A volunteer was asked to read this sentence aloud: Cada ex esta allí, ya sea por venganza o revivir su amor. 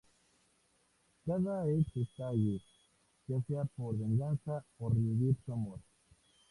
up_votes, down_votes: 0, 2